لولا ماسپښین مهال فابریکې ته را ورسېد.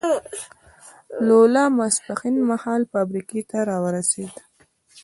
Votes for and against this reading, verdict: 2, 0, accepted